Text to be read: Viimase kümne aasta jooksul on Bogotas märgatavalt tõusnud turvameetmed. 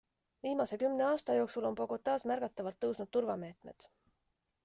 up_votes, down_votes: 2, 0